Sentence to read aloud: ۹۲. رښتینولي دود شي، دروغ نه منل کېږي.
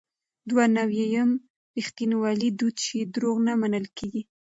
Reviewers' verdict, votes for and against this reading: rejected, 0, 2